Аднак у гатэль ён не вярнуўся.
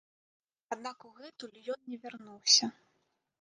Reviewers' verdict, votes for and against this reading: rejected, 0, 2